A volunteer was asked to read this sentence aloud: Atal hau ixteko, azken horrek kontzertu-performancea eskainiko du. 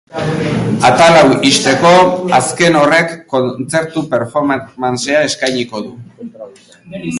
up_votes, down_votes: 0, 2